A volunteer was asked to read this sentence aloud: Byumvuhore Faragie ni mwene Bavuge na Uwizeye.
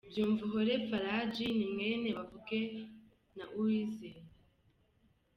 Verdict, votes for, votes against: accepted, 2, 0